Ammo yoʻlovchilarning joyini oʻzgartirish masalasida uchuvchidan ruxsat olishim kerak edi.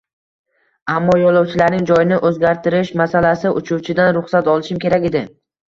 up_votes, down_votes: 1, 2